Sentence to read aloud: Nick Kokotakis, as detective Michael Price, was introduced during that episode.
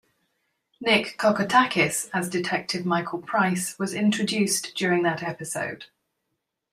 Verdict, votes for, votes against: accepted, 2, 0